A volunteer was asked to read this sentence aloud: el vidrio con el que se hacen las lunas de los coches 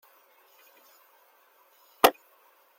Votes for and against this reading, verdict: 0, 2, rejected